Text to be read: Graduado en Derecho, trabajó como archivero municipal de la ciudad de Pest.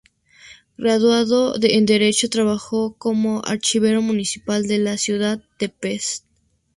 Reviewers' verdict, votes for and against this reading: accepted, 2, 0